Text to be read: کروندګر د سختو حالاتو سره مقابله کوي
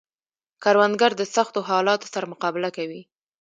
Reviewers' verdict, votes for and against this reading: rejected, 1, 2